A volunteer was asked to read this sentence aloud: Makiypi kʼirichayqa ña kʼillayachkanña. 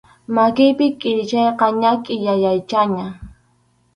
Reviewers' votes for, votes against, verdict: 2, 2, rejected